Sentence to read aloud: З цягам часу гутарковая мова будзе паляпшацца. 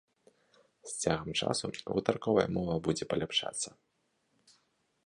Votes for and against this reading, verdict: 2, 0, accepted